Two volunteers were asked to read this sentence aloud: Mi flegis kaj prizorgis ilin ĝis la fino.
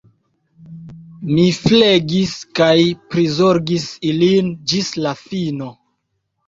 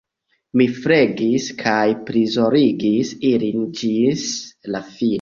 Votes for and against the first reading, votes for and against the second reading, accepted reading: 2, 0, 1, 2, first